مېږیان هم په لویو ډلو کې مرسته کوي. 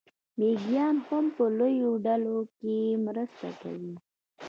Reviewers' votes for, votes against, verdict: 0, 2, rejected